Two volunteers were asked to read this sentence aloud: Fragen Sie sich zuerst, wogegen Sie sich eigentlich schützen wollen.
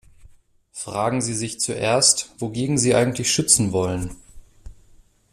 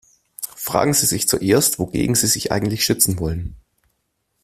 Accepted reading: second